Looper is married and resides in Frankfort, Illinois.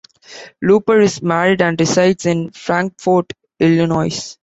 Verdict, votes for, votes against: accepted, 2, 0